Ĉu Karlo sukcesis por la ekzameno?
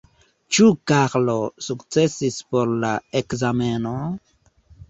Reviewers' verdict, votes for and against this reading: rejected, 0, 2